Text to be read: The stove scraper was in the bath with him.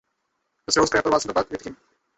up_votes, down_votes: 0, 2